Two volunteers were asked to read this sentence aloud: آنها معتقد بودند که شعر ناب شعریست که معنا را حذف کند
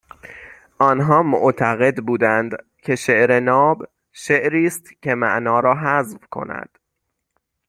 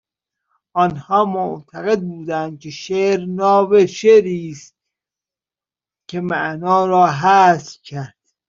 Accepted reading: first